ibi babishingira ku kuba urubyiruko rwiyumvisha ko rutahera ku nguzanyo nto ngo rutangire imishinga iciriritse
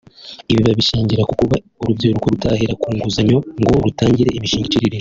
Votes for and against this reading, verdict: 0, 2, rejected